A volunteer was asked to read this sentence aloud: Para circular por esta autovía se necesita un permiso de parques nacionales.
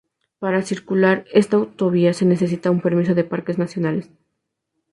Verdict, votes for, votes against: rejected, 0, 2